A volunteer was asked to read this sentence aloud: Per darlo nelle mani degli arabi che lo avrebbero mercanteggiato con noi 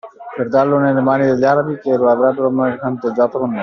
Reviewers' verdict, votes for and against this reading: accepted, 2, 1